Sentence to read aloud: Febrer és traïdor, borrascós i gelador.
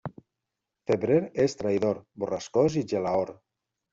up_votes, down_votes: 1, 2